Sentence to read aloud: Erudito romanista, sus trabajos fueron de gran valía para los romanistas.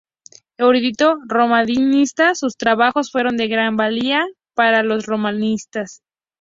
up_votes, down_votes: 0, 2